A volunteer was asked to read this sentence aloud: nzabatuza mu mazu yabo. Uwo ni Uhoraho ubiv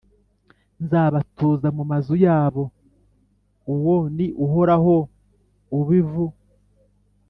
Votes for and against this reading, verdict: 2, 0, accepted